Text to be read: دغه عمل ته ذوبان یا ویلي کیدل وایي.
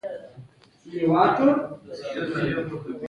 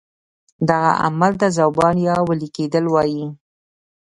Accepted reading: second